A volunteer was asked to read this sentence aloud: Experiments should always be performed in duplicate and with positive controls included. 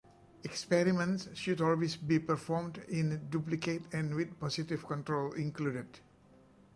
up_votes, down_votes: 0, 2